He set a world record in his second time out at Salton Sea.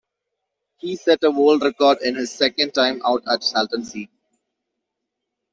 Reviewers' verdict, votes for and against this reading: accepted, 2, 0